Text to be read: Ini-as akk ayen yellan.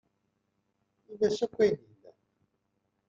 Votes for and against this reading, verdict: 0, 2, rejected